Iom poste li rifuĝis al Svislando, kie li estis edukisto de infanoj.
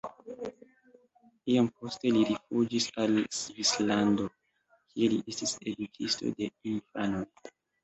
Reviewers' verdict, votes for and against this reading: accepted, 2, 1